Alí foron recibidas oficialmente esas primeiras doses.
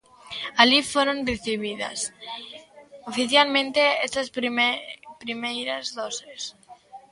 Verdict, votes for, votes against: rejected, 0, 3